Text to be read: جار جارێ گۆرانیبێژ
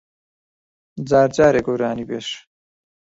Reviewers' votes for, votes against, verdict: 2, 1, accepted